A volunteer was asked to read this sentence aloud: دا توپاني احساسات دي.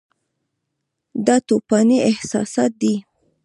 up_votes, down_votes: 2, 0